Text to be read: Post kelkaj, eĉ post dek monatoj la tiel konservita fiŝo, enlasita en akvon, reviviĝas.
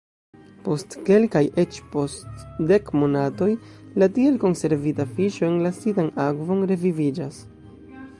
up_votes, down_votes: 2, 1